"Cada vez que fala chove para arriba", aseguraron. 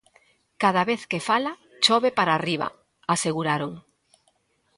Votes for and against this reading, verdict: 2, 0, accepted